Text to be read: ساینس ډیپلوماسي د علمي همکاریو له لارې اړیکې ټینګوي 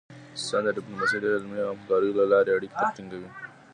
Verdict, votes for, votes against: accepted, 2, 0